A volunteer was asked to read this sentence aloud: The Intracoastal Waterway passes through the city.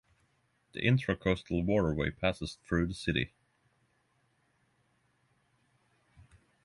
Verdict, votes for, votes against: rejected, 0, 3